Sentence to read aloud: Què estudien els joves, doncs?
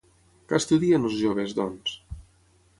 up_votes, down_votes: 3, 6